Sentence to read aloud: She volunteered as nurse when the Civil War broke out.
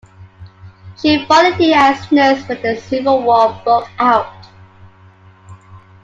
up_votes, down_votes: 1, 2